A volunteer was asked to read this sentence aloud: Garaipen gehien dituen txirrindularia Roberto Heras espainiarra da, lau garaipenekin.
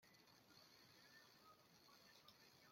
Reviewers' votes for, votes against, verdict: 0, 2, rejected